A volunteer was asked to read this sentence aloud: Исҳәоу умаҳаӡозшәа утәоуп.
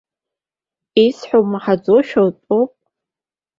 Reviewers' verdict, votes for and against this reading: rejected, 1, 2